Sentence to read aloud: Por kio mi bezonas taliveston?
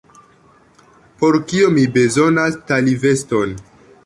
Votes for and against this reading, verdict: 2, 1, accepted